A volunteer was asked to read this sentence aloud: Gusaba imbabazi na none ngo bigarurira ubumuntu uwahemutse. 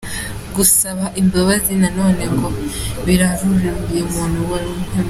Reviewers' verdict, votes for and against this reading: rejected, 1, 2